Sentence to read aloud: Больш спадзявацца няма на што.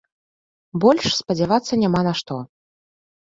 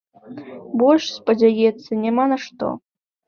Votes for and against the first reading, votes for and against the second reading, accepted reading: 2, 0, 0, 2, first